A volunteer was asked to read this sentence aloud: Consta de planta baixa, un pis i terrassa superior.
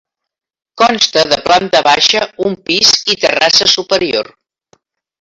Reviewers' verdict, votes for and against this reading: accepted, 3, 0